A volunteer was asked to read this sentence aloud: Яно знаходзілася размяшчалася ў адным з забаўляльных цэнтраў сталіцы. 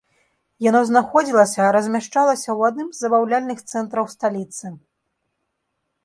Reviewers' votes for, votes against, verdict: 2, 0, accepted